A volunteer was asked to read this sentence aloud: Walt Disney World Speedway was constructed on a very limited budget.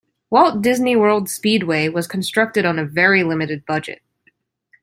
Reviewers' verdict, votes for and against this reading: accepted, 2, 0